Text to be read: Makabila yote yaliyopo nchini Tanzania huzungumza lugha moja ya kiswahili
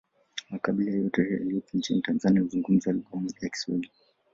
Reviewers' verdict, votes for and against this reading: accepted, 2, 1